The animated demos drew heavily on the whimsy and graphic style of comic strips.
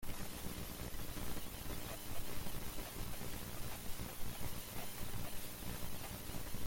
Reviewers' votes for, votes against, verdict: 0, 2, rejected